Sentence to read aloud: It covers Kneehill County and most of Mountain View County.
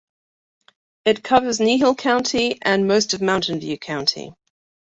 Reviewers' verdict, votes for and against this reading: accepted, 2, 0